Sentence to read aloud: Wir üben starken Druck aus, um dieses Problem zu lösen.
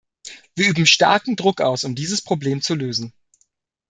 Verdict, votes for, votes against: accepted, 2, 0